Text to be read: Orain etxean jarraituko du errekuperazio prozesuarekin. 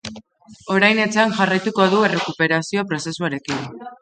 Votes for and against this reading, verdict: 2, 0, accepted